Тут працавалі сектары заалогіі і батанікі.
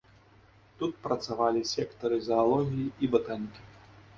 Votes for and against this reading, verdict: 2, 0, accepted